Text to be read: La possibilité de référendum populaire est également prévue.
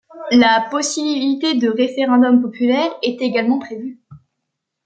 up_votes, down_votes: 2, 0